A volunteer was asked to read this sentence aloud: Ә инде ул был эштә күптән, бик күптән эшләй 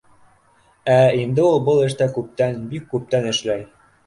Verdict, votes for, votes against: accepted, 2, 0